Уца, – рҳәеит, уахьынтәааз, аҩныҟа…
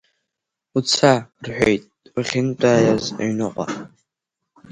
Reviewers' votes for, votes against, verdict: 2, 3, rejected